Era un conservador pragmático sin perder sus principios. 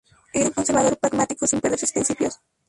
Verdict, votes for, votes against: rejected, 0, 2